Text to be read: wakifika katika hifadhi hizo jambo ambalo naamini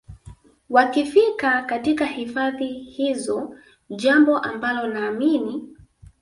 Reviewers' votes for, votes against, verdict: 0, 2, rejected